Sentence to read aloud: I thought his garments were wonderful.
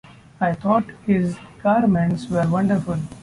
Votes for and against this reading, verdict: 2, 0, accepted